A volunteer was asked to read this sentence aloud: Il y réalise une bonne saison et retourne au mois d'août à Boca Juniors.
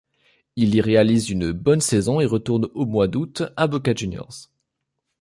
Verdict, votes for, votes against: accepted, 2, 0